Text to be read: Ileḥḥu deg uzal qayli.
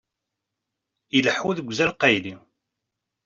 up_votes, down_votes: 2, 1